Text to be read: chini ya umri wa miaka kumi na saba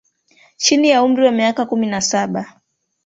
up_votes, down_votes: 1, 2